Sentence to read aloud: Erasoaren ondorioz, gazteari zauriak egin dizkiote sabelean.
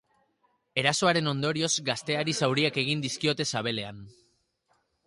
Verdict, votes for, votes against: accepted, 2, 0